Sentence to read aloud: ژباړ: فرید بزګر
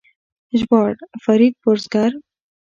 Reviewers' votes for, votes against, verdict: 2, 0, accepted